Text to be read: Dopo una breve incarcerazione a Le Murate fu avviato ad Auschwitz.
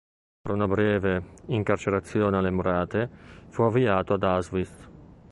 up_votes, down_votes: 1, 2